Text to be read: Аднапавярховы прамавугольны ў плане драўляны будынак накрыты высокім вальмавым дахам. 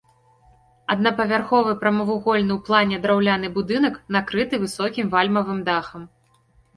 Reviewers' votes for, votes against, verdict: 2, 0, accepted